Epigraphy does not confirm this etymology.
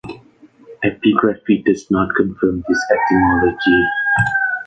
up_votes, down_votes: 1, 2